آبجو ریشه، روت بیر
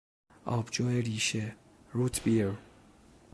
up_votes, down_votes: 2, 0